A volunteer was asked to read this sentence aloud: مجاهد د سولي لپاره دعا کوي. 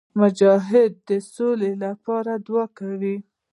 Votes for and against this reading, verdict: 1, 2, rejected